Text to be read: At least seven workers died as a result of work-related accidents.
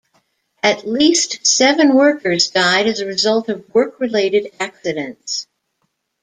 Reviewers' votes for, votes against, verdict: 2, 0, accepted